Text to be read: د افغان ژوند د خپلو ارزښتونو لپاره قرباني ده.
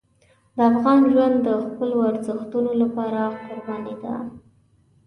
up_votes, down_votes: 3, 0